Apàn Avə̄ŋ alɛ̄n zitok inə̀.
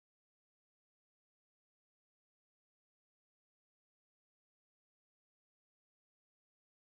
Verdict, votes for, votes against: rejected, 0, 2